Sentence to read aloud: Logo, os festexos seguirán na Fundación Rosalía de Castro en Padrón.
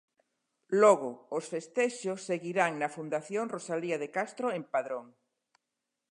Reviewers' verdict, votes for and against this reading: accepted, 2, 0